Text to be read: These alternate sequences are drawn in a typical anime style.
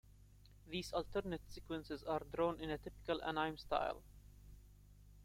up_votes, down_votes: 2, 0